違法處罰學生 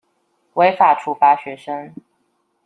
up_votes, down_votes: 2, 0